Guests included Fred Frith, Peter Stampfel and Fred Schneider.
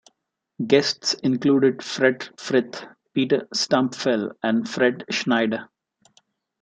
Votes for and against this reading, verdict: 1, 2, rejected